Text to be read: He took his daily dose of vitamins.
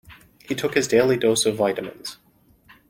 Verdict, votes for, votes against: accepted, 2, 0